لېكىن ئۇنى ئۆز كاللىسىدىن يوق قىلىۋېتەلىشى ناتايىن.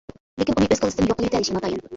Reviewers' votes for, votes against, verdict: 0, 2, rejected